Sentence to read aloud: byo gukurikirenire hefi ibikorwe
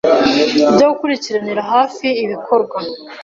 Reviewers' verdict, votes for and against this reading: rejected, 0, 2